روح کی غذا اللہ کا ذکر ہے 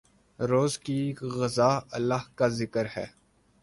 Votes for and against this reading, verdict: 4, 8, rejected